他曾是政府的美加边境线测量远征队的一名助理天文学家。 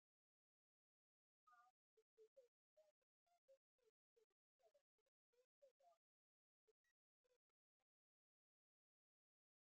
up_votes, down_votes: 0, 2